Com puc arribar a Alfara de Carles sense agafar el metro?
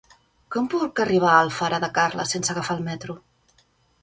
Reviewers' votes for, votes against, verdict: 3, 0, accepted